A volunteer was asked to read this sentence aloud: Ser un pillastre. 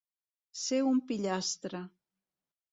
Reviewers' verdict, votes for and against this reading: accepted, 2, 0